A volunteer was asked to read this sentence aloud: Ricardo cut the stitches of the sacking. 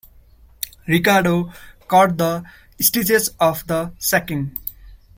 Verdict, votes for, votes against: accepted, 2, 0